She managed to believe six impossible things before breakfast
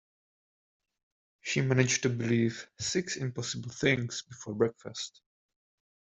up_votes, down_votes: 2, 0